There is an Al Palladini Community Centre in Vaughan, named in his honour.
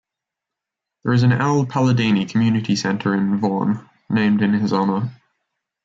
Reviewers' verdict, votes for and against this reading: accepted, 2, 1